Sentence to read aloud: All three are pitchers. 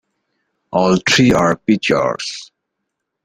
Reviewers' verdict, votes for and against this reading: rejected, 1, 3